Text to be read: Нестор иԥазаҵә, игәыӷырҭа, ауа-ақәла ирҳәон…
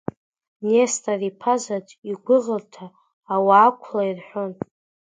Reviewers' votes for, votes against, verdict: 2, 1, accepted